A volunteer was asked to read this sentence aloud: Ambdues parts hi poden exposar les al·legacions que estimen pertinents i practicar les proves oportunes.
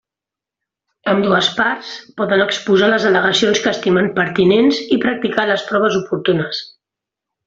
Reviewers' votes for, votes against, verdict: 1, 2, rejected